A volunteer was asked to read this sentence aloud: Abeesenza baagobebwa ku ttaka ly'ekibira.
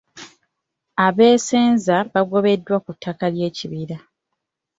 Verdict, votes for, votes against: accepted, 2, 0